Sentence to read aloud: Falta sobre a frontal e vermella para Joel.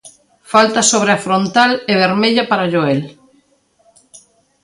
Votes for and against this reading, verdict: 2, 0, accepted